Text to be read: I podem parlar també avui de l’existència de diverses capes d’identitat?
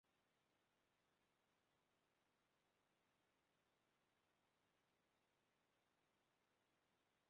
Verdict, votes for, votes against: rejected, 0, 2